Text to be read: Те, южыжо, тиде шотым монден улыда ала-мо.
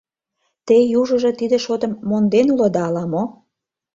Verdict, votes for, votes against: accepted, 2, 0